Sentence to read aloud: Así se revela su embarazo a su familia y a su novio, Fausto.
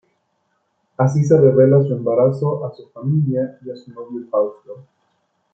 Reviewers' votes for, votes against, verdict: 2, 0, accepted